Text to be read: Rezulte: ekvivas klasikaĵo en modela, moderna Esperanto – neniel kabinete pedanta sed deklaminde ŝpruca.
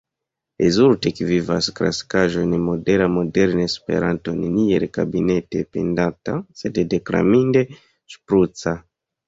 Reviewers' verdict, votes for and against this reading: accepted, 3, 2